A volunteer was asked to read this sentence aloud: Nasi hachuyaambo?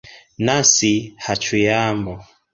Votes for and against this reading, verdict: 1, 2, rejected